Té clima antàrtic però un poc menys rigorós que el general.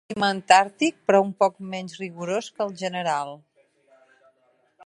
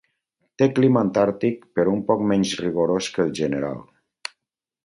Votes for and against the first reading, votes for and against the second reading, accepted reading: 1, 2, 4, 0, second